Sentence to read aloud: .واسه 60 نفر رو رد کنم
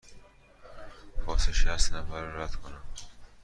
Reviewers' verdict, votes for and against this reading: rejected, 0, 2